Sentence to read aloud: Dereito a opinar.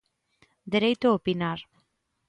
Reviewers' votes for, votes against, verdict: 2, 0, accepted